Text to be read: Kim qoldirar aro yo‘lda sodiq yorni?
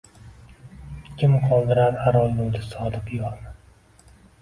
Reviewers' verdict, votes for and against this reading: accepted, 2, 1